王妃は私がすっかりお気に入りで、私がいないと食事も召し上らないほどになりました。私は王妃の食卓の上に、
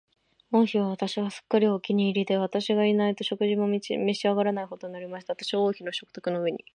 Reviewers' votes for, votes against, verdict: 2, 2, rejected